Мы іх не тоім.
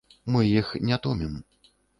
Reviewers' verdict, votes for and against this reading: rejected, 1, 2